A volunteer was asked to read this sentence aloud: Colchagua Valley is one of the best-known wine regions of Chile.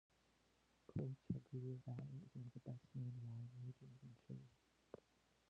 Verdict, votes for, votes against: rejected, 0, 2